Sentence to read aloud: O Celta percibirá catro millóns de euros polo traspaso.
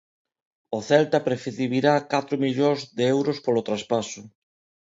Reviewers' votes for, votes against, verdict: 0, 2, rejected